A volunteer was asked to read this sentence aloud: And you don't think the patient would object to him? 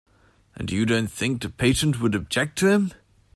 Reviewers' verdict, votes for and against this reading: accepted, 2, 0